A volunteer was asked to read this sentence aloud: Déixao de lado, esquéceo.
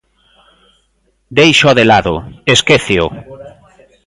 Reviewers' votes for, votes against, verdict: 1, 2, rejected